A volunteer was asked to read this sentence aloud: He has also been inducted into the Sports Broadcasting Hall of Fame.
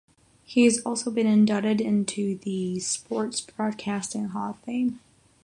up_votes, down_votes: 3, 3